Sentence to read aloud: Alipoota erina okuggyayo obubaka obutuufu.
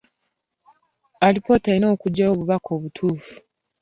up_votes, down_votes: 2, 0